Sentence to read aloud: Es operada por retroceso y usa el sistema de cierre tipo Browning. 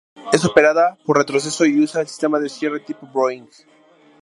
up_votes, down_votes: 0, 2